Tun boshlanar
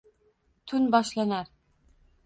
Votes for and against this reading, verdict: 2, 0, accepted